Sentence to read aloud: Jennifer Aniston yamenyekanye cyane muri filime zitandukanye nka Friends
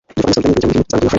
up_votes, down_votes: 0, 2